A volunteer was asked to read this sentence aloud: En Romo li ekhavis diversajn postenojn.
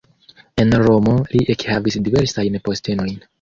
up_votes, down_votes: 2, 0